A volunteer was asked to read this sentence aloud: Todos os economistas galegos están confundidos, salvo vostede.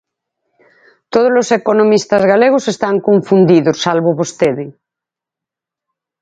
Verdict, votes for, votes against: accepted, 4, 0